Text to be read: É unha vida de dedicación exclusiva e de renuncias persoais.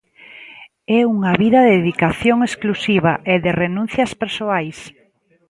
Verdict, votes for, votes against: accepted, 2, 0